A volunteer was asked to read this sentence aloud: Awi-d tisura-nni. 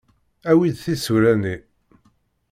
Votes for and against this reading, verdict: 2, 0, accepted